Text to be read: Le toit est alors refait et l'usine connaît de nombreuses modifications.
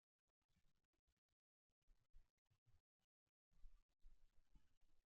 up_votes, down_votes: 0, 2